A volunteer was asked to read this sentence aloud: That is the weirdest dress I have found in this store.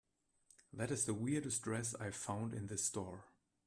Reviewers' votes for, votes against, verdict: 0, 2, rejected